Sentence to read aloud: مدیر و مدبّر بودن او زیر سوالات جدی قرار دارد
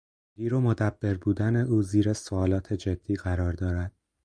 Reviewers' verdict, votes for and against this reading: rejected, 2, 4